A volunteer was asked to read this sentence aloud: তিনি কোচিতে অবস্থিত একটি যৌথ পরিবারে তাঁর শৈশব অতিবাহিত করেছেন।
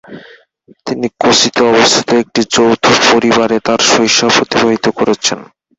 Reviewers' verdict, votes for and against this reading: accepted, 4, 2